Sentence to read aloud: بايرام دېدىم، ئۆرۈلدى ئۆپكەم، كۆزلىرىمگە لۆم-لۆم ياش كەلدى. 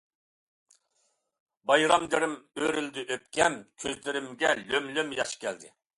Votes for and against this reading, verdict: 0, 2, rejected